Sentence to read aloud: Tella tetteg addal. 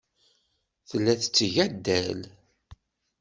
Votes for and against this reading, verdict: 2, 0, accepted